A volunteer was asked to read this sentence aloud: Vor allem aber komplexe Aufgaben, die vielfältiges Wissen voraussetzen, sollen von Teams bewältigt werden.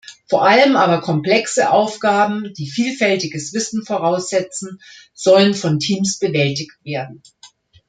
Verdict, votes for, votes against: accepted, 2, 0